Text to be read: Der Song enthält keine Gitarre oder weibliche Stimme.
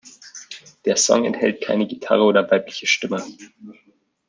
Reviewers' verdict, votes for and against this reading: accepted, 2, 0